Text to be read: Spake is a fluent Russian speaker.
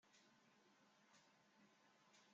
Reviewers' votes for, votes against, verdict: 0, 2, rejected